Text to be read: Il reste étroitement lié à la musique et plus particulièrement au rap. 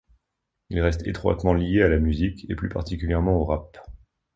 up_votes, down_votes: 2, 0